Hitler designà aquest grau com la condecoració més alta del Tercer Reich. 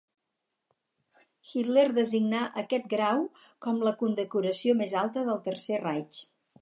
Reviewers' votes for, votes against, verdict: 4, 0, accepted